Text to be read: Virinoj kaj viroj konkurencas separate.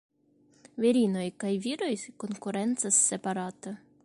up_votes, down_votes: 2, 0